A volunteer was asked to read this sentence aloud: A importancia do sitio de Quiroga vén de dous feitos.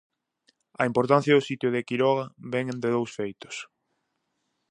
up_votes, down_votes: 4, 0